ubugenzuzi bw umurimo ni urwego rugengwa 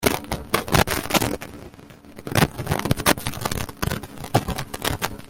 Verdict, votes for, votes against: rejected, 1, 2